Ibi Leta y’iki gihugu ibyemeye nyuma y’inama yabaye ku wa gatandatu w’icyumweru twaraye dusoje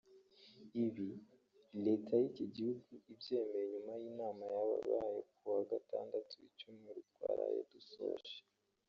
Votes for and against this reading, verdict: 1, 3, rejected